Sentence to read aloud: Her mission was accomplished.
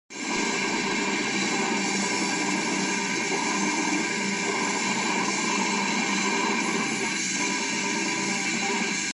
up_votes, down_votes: 0, 2